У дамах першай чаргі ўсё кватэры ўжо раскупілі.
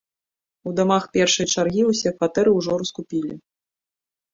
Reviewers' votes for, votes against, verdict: 2, 0, accepted